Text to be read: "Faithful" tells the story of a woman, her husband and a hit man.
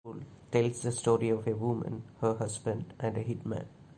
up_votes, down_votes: 0, 2